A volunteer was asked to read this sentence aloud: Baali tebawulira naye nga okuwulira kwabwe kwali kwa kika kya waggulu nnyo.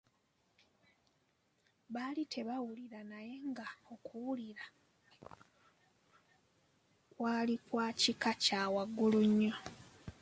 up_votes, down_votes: 2, 3